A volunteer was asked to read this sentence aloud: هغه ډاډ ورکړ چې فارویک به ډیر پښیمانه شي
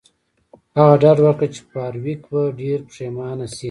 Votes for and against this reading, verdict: 2, 1, accepted